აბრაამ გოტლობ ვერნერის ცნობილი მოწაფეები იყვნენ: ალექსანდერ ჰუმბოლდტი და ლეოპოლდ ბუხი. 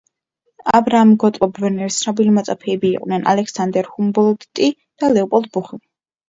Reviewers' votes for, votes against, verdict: 1, 2, rejected